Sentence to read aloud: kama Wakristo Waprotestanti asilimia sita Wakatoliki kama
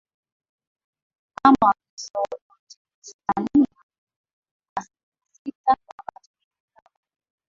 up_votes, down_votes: 0, 2